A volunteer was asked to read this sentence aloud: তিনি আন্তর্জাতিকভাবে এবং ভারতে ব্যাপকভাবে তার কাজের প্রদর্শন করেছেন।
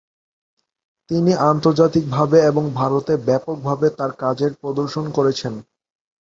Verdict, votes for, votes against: accepted, 2, 0